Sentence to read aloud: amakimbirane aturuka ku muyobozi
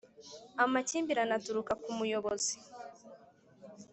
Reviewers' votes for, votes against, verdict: 3, 0, accepted